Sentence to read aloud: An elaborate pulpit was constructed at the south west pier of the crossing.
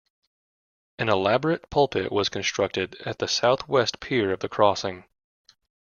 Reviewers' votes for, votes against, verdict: 2, 0, accepted